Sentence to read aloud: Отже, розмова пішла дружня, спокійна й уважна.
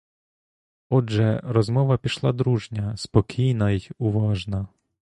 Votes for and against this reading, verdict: 2, 0, accepted